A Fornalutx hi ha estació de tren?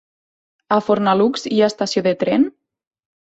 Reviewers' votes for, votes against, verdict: 1, 2, rejected